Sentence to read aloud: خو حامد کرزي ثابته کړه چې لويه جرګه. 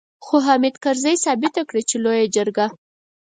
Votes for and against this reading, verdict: 4, 0, accepted